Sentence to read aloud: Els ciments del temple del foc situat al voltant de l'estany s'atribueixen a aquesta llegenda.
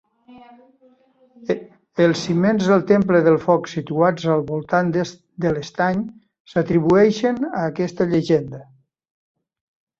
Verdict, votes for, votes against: rejected, 0, 2